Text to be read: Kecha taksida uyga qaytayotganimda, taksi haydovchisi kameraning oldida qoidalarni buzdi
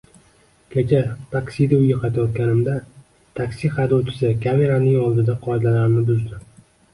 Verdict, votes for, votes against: accepted, 2, 0